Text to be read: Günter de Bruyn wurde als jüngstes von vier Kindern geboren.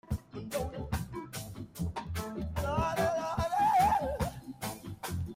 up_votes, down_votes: 0, 2